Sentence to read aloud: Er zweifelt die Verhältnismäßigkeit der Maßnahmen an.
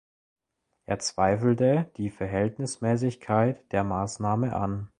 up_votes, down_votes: 0, 2